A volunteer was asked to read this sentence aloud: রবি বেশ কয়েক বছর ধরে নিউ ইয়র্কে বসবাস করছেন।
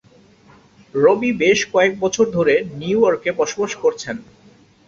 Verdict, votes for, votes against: accepted, 14, 0